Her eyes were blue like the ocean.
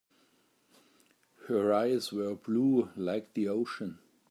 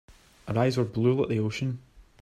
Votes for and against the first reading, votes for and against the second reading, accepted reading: 2, 0, 1, 2, first